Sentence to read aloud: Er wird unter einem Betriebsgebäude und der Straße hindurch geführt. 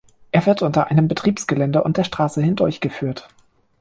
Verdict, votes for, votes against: rejected, 1, 2